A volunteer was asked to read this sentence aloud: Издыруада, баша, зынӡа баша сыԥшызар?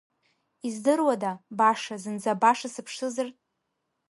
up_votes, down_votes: 2, 0